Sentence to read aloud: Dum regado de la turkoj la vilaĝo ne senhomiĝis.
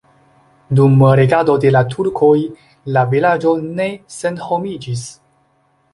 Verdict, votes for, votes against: accepted, 2, 1